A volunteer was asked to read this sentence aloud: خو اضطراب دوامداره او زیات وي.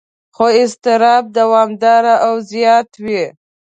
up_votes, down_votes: 2, 0